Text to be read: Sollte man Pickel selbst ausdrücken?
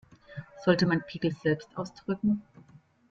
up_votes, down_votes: 2, 0